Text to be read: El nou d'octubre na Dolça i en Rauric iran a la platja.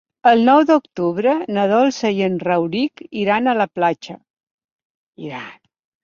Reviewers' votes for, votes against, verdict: 0, 2, rejected